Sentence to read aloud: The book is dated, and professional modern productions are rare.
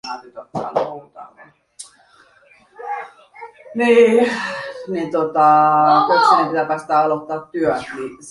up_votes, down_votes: 0, 2